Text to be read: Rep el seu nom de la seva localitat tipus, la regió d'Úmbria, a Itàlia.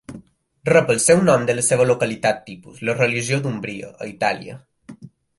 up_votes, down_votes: 1, 3